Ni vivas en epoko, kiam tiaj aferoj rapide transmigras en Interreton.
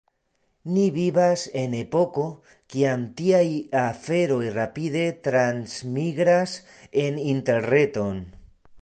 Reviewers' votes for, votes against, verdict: 2, 0, accepted